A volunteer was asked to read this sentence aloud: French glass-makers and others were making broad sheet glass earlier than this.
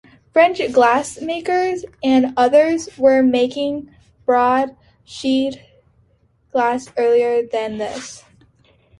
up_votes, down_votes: 2, 0